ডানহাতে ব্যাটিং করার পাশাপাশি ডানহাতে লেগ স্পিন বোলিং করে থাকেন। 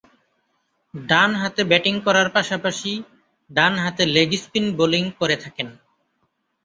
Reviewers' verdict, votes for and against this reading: accepted, 2, 0